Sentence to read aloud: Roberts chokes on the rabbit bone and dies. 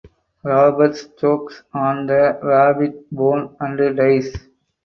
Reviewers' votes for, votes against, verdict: 4, 0, accepted